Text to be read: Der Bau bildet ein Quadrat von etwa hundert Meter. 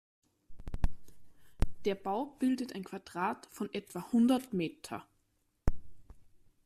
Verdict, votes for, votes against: rejected, 1, 2